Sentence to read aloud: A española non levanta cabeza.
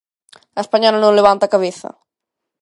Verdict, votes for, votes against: accepted, 2, 0